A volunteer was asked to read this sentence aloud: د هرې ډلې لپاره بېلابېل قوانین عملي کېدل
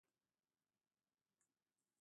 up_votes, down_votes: 0, 2